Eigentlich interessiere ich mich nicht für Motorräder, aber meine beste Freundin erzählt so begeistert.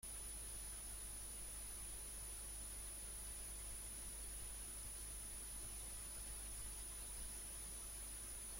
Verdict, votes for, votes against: rejected, 0, 3